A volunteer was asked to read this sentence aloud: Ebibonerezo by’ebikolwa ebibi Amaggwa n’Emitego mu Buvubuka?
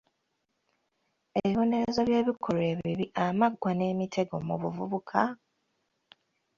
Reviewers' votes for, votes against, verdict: 2, 1, accepted